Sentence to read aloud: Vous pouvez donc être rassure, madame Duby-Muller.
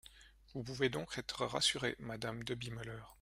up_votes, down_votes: 1, 2